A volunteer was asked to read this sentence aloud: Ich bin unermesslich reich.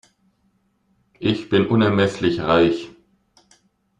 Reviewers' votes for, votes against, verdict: 2, 0, accepted